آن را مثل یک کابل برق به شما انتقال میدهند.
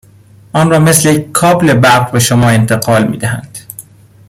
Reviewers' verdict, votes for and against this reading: accepted, 2, 0